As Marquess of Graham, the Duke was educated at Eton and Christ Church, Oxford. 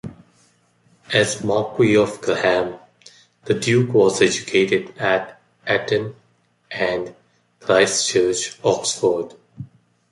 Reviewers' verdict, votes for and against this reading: rejected, 1, 2